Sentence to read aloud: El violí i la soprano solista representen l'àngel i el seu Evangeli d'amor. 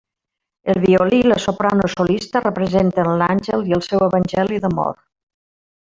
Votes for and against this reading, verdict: 1, 2, rejected